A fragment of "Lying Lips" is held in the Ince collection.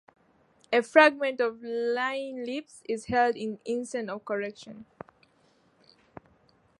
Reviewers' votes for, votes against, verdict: 0, 2, rejected